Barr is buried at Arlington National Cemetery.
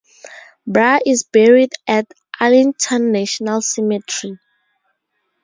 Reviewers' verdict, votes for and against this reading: rejected, 2, 2